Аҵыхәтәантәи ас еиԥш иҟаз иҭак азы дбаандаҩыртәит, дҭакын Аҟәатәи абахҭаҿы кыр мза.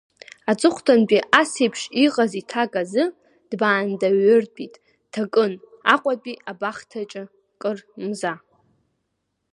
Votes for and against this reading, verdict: 2, 0, accepted